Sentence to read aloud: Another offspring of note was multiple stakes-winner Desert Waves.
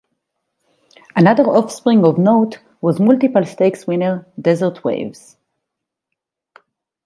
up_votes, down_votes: 2, 0